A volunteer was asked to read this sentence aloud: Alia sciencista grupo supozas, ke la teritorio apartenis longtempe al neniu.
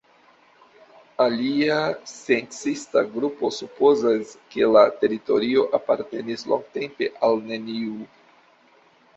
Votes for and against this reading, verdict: 3, 2, accepted